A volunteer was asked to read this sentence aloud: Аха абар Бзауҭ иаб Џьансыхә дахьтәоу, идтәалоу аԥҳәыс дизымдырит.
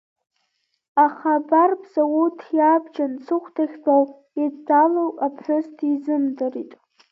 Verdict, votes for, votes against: rejected, 0, 2